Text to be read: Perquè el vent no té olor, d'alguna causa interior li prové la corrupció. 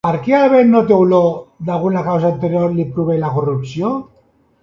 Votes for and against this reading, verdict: 0, 2, rejected